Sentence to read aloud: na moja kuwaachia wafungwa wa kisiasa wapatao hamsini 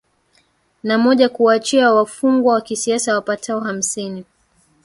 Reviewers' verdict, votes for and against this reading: accepted, 2, 1